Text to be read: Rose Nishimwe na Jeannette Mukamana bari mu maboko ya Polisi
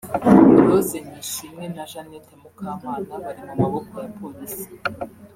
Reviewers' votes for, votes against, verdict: 2, 0, accepted